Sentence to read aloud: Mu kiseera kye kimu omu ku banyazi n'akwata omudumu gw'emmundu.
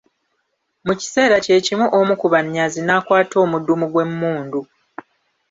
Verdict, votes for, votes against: rejected, 1, 2